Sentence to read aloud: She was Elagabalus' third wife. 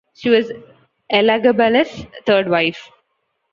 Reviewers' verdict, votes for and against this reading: accepted, 2, 0